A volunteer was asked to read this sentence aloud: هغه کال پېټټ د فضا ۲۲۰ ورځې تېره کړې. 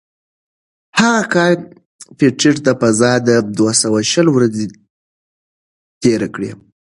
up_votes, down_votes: 0, 2